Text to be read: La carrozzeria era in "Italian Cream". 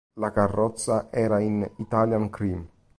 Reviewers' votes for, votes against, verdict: 1, 2, rejected